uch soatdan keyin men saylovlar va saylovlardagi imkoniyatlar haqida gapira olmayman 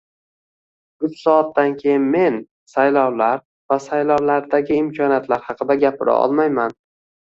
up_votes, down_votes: 1, 2